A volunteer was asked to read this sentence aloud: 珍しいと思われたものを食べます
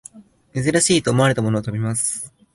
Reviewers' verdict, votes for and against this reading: accepted, 2, 0